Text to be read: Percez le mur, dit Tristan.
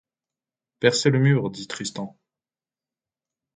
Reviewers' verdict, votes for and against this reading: accepted, 2, 0